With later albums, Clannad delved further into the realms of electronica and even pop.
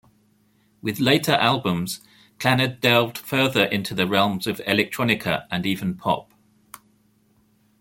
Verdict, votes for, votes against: rejected, 1, 2